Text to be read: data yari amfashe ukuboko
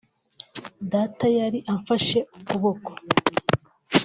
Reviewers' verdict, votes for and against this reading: accepted, 2, 1